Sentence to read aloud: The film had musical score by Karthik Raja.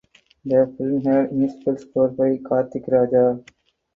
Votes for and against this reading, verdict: 0, 4, rejected